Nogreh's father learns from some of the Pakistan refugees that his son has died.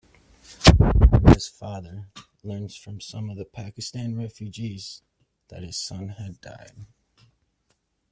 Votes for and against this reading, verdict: 0, 2, rejected